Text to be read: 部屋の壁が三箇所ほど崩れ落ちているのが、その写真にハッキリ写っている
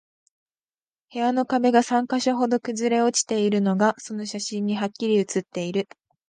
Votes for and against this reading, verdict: 4, 4, rejected